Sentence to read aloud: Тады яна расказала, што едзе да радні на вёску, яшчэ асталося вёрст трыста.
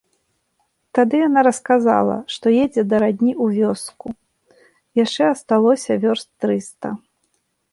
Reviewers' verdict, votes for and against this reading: rejected, 1, 2